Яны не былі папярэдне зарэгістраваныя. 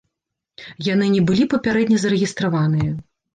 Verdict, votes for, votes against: accepted, 2, 0